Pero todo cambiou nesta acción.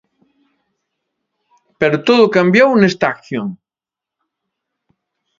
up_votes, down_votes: 2, 0